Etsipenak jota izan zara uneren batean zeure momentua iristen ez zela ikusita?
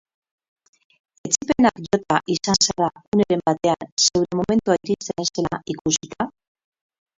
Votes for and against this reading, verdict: 0, 4, rejected